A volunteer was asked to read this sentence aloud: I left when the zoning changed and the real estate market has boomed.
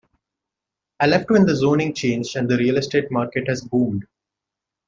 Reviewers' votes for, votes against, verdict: 2, 1, accepted